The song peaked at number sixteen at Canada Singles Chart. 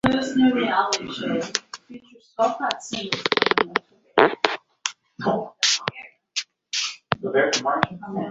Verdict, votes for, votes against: rejected, 0, 2